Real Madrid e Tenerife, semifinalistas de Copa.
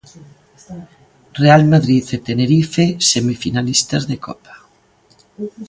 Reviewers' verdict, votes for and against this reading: accepted, 2, 0